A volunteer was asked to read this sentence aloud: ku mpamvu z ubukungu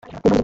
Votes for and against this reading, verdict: 0, 2, rejected